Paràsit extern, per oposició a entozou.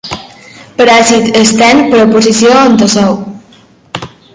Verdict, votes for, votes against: rejected, 1, 2